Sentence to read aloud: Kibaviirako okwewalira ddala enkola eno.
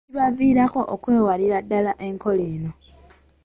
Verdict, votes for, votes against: accepted, 2, 1